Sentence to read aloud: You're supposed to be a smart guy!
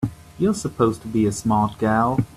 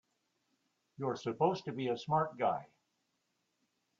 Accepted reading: second